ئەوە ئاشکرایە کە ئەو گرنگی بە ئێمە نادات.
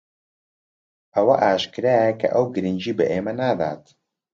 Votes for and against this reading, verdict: 2, 0, accepted